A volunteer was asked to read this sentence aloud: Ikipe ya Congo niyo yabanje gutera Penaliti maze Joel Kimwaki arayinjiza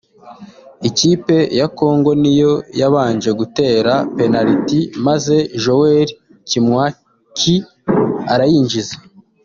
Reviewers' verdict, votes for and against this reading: accepted, 2, 1